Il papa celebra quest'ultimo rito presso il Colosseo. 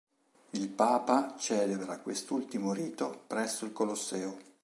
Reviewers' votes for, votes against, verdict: 2, 0, accepted